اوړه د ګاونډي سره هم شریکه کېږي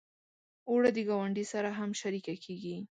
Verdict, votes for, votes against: accepted, 2, 0